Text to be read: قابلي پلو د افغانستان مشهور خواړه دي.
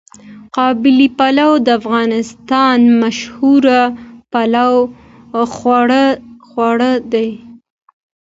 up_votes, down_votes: 1, 2